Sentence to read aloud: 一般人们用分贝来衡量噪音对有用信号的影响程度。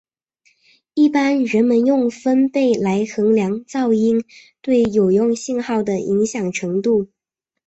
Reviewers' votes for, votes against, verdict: 2, 1, accepted